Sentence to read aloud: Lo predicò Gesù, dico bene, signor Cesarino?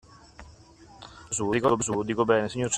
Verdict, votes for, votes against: rejected, 1, 2